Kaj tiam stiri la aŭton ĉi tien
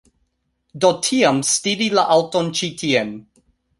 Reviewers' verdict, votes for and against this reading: rejected, 0, 2